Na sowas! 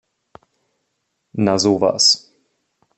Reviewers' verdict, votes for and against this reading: accepted, 3, 0